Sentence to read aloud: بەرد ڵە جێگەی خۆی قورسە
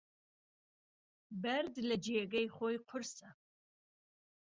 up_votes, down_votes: 1, 2